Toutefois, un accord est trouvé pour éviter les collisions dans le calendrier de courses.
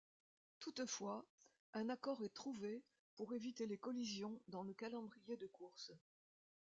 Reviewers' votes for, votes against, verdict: 2, 0, accepted